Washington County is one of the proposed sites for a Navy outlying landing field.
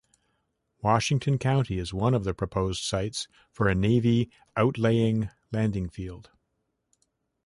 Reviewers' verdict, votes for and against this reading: rejected, 1, 2